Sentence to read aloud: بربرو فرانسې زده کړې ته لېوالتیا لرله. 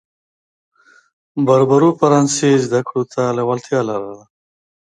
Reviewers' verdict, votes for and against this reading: accepted, 2, 0